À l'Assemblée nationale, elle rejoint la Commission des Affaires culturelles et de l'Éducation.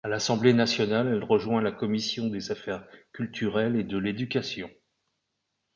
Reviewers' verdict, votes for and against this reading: accepted, 2, 0